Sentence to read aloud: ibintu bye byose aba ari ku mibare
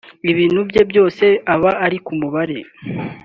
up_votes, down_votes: 4, 1